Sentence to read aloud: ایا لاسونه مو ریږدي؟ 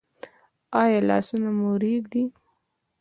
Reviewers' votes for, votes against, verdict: 2, 0, accepted